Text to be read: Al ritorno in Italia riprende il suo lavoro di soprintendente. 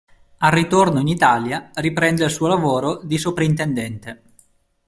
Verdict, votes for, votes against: accepted, 2, 0